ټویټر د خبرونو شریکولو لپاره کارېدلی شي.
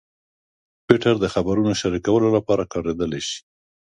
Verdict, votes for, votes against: accepted, 2, 0